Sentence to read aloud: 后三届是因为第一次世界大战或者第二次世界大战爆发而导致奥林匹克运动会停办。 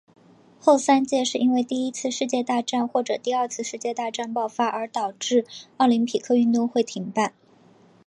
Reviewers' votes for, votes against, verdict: 2, 0, accepted